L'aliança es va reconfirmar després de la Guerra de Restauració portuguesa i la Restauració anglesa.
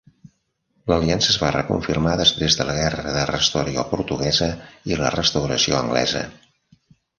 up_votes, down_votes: 1, 2